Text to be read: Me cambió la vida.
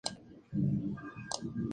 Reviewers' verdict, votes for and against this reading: rejected, 0, 2